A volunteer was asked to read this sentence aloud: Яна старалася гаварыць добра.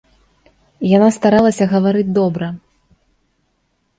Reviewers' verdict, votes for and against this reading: rejected, 0, 2